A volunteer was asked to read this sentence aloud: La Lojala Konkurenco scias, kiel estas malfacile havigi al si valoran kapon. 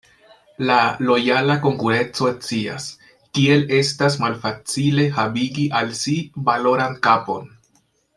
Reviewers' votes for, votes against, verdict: 2, 1, accepted